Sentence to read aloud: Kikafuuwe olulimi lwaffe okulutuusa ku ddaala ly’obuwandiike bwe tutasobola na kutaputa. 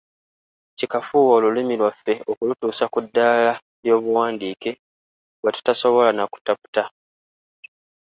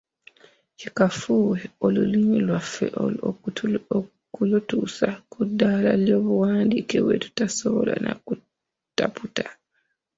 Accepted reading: first